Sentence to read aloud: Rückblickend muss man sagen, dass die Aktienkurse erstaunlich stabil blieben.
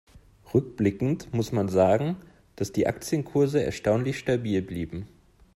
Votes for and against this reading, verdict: 2, 0, accepted